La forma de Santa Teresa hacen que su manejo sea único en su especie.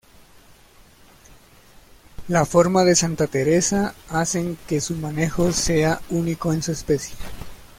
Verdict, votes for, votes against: accepted, 2, 0